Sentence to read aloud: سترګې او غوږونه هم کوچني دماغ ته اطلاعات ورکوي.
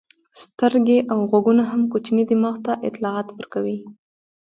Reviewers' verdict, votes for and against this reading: rejected, 1, 2